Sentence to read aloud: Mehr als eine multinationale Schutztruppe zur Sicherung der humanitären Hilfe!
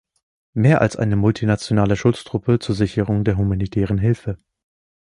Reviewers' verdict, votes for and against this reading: accepted, 2, 0